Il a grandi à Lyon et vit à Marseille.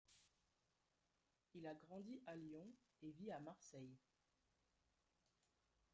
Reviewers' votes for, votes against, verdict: 1, 3, rejected